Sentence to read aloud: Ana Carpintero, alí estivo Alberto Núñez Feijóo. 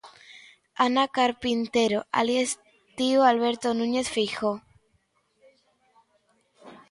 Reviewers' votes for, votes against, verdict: 2, 0, accepted